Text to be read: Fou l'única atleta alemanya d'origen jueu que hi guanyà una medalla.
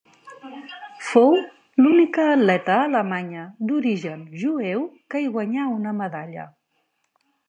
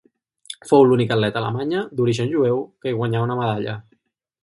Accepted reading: first